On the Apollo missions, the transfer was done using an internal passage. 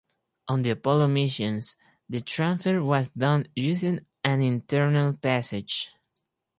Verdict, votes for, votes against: accepted, 4, 2